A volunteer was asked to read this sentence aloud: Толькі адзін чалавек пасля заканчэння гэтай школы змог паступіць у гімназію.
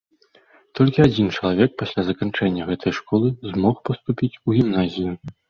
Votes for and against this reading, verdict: 2, 0, accepted